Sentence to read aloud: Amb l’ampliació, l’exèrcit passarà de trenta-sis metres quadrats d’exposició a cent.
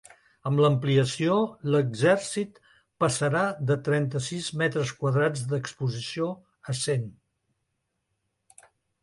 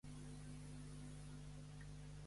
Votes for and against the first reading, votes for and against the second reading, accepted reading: 2, 0, 0, 2, first